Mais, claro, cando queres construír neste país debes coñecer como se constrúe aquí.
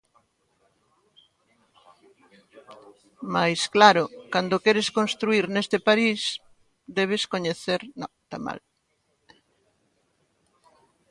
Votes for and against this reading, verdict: 0, 2, rejected